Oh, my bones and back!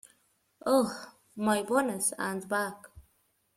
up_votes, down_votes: 2, 1